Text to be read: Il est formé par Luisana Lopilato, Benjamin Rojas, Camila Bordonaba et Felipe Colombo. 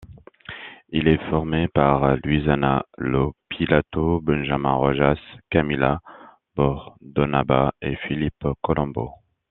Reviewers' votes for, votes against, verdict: 0, 2, rejected